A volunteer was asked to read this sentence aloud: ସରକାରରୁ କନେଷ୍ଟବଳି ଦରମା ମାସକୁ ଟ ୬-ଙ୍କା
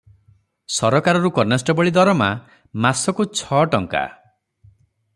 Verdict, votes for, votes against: rejected, 0, 2